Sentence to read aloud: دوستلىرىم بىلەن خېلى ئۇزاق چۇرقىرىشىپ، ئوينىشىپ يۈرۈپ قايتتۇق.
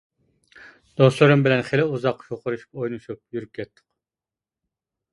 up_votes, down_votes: 0, 2